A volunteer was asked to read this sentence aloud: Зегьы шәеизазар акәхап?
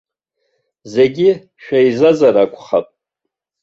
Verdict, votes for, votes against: accepted, 2, 1